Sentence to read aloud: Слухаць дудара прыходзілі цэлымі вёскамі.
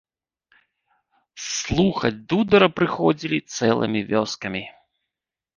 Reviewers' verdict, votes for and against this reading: rejected, 0, 2